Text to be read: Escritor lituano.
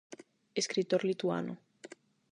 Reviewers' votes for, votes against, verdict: 8, 0, accepted